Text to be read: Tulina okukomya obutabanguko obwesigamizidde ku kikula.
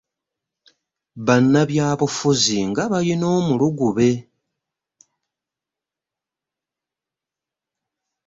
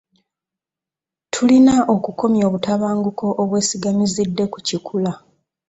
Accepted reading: second